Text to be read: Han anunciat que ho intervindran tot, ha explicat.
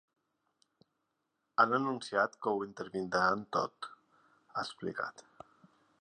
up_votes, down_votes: 3, 0